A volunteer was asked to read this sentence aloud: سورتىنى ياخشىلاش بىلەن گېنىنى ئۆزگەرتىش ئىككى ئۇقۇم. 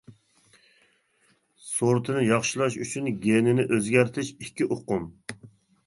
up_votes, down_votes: 1, 2